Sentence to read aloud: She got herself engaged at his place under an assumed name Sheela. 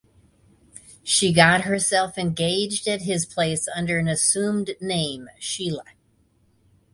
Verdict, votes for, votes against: accepted, 2, 0